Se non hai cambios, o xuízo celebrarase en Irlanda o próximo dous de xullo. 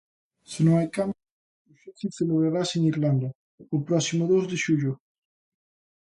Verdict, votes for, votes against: rejected, 0, 2